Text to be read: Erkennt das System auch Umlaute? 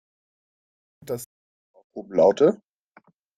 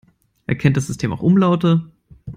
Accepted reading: second